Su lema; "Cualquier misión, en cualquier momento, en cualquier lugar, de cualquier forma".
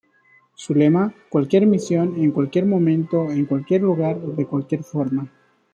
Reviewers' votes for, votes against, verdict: 2, 0, accepted